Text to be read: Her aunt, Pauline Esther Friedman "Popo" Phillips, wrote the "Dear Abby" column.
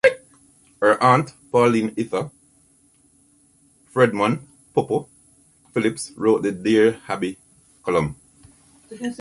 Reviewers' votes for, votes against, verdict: 1, 2, rejected